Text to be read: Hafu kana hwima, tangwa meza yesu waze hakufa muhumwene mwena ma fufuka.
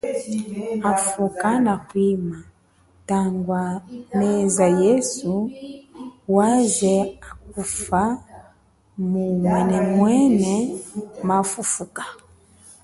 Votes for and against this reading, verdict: 0, 2, rejected